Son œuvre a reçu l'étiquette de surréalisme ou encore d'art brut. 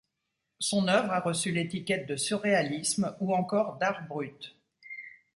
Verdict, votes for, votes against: accepted, 2, 0